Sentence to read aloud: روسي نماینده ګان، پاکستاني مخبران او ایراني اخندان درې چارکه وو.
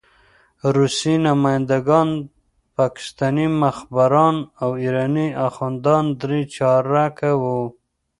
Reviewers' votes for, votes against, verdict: 2, 0, accepted